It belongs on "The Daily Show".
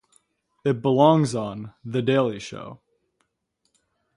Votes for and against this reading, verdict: 0, 2, rejected